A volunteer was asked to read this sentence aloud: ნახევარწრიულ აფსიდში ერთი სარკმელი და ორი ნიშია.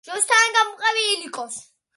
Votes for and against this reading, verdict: 0, 2, rejected